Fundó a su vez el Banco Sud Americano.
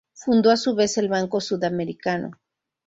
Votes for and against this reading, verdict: 0, 2, rejected